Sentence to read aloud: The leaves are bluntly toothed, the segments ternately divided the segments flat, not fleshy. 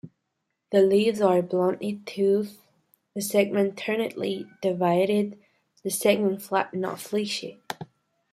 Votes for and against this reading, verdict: 2, 0, accepted